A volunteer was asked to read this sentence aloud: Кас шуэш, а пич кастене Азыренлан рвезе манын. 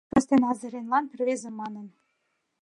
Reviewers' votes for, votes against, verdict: 0, 2, rejected